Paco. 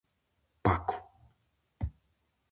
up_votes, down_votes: 4, 0